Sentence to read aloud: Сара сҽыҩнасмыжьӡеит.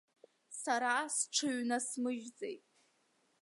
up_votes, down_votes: 2, 1